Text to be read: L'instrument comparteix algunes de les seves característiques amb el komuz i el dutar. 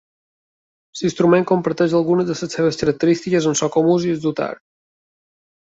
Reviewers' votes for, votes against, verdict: 2, 1, accepted